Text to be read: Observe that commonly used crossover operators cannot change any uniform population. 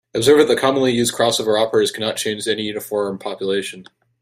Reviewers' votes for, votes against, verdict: 2, 1, accepted